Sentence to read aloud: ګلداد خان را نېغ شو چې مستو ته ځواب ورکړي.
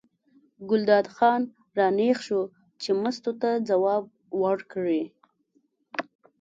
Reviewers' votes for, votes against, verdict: 2, 0, accepted